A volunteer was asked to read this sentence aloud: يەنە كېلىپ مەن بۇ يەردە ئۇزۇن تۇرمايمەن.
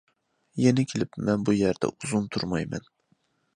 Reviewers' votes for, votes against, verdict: 2, 0, accepted